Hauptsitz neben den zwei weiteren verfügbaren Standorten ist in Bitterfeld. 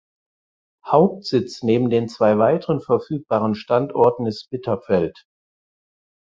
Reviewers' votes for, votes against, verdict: 0, 4, rejected